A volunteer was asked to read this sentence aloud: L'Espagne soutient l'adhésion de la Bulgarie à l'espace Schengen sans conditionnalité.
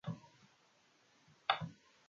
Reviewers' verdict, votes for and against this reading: rejected, 0, 2